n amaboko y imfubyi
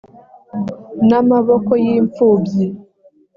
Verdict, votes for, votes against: accepted, 2, 0